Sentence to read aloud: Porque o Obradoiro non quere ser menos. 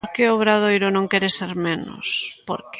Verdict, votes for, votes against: rejected, 0, 2